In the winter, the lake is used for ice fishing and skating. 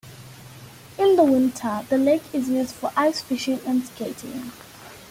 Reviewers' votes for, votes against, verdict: 0, 2, rejected